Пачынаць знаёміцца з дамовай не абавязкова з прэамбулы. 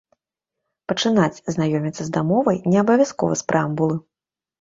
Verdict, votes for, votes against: accepted, 2, 0